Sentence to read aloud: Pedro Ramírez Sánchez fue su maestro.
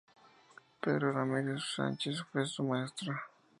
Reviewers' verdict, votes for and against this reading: rejected, 0, 2